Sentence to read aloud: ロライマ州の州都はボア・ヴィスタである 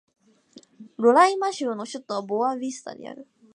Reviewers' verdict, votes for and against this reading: accepted, 2, 0